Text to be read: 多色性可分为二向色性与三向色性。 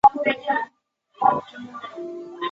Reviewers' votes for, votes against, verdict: 0, 2, rejected